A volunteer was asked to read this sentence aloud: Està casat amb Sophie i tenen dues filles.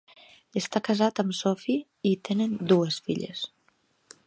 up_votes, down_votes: 5, 0